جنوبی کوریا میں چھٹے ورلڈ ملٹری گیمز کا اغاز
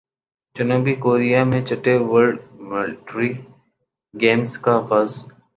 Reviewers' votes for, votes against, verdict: 0, 2, rejected